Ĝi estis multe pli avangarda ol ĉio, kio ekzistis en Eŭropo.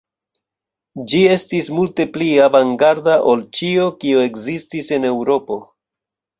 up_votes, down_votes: 1, 2